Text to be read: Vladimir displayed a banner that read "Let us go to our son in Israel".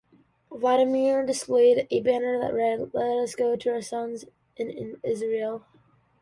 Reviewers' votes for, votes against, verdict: 2, 0, accepted